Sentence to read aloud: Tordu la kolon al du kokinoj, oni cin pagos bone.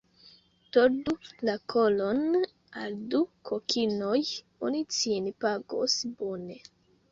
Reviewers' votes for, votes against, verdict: 1, 2, rejected